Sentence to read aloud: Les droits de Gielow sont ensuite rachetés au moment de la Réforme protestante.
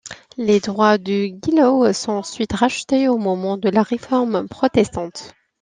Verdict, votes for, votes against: accepted, 2, 1